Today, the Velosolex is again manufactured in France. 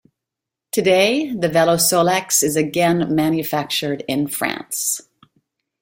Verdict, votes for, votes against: accepted, 2, 0